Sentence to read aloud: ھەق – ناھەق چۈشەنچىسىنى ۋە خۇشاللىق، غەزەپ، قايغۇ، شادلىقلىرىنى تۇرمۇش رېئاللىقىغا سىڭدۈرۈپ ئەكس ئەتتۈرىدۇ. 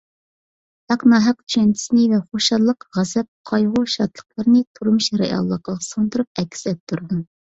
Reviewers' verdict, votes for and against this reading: accepted, 3, 0